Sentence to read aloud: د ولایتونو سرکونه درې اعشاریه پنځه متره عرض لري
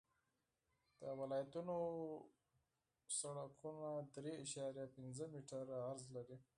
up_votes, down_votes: 2, 4